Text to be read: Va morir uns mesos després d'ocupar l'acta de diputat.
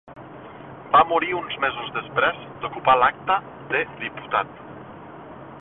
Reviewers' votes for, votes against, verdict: 0, 2, rejected